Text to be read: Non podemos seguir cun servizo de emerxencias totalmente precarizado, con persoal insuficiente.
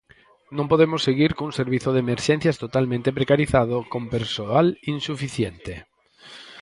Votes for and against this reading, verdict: 6, 0, accepted